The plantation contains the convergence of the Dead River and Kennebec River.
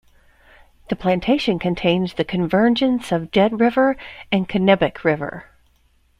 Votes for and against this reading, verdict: 1, 2, rejected